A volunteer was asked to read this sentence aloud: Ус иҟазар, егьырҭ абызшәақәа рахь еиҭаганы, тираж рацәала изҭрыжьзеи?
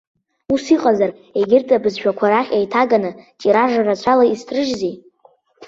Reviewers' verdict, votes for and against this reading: accepted, 2, 0